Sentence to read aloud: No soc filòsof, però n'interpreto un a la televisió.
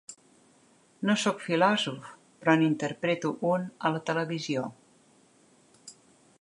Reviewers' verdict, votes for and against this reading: accepted, 2, 0